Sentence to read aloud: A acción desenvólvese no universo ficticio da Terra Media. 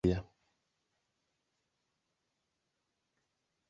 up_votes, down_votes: 0, 3